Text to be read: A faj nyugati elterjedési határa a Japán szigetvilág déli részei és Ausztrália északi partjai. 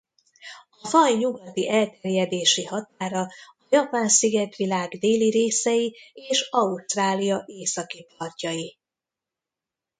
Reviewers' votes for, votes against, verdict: 0, 2, rejected